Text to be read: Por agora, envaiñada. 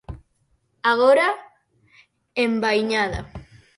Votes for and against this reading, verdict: 0, 6, rejected